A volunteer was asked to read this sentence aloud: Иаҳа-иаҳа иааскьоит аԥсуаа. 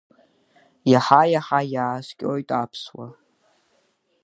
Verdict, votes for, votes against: accepted, 2, 1